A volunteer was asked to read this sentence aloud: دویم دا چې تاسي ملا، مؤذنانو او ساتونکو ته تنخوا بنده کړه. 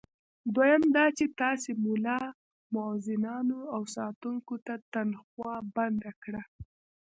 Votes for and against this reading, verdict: 1, 2, rejected